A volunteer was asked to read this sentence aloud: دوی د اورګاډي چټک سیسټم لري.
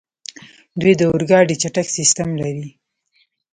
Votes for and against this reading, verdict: 0, 2, rejected